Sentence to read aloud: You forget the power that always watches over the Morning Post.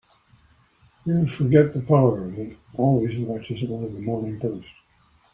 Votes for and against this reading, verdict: 1, 2, rejected